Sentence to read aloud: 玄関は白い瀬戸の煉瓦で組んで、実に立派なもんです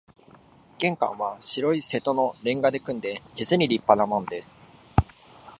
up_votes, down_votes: 2, 0